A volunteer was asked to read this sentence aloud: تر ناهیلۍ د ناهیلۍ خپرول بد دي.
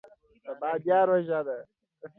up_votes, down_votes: 0, 2